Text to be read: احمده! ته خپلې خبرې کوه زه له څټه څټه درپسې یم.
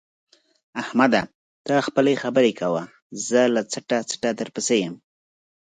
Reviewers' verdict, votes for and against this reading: accepted, 6, 0